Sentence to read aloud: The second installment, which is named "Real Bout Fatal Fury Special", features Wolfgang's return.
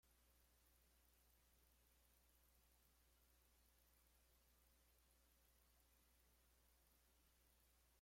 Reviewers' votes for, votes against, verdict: 0, 2, rejected